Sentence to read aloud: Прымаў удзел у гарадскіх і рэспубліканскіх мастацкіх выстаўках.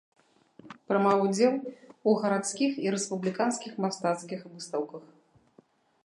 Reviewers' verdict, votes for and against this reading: accepted, 2, 0